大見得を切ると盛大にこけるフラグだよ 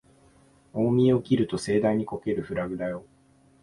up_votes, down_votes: 2, 0